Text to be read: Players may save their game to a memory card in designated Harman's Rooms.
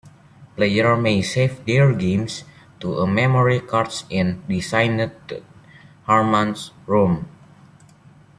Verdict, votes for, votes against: rejected, 1, 2